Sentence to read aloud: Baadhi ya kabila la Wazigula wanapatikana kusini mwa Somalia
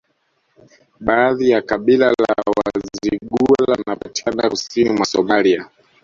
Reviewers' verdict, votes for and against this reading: rejected, 1, 2